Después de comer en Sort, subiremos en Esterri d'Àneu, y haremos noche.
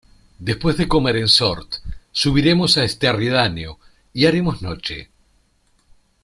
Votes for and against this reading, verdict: 0, 2, rejected